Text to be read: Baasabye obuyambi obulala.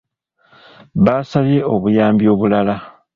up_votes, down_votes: 2, 0